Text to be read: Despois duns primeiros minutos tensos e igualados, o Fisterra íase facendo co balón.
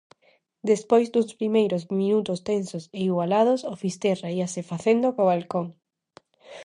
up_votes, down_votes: 0, 2